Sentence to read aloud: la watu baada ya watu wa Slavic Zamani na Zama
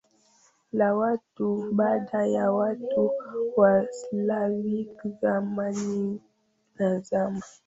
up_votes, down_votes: 0, 2